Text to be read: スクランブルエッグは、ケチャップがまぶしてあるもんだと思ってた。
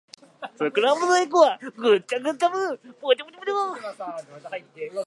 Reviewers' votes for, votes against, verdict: 0, 2, rejected